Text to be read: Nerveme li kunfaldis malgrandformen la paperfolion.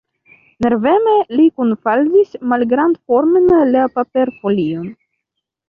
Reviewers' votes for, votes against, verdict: 1, 2, rejected